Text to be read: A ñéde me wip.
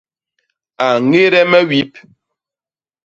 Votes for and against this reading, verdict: 2, 0, accepted